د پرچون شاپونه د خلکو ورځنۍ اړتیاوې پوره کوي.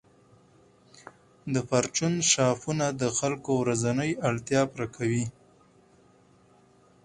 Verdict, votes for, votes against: accepted, 4, 0